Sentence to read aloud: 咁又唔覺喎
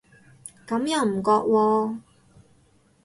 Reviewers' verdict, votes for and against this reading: rejected, 2, 2